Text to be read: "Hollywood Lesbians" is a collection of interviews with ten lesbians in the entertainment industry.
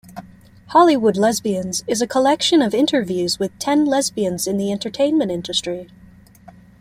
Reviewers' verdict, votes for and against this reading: accepted, 2, 0